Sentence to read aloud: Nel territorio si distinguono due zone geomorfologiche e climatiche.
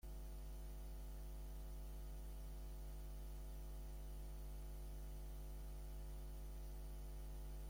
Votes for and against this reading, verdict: 0, 2, rejected